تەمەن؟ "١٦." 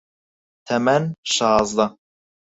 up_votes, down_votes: 0, 2